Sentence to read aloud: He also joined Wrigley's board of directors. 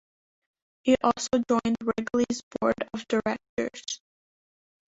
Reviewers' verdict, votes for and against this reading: accepted, 2, 1